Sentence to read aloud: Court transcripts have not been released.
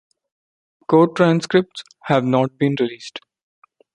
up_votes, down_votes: 2, 1